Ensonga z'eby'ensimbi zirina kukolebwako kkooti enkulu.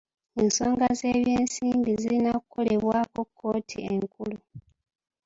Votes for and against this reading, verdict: 3, 0, accepted